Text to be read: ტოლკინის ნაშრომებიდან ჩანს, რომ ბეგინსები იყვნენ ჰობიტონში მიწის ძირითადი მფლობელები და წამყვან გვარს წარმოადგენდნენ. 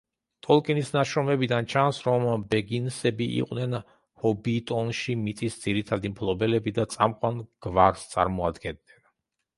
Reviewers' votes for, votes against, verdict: 2, 0, accepted